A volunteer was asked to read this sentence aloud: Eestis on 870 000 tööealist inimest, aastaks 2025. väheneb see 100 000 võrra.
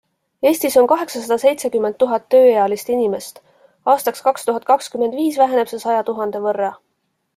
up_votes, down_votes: 0, 2